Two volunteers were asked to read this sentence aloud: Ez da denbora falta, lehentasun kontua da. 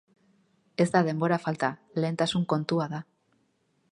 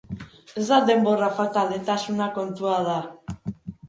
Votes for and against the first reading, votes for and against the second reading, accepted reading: 4, 0, 0, 2, first